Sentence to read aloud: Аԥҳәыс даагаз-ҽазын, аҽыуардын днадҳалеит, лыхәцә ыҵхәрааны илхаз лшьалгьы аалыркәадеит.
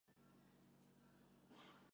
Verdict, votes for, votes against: rejected, 0, 2